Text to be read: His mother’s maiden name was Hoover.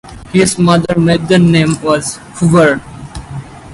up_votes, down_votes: 2, 2